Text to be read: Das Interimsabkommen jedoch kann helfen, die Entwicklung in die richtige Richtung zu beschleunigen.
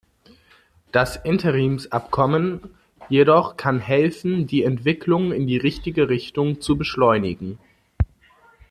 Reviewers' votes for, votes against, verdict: 3, 0, accepted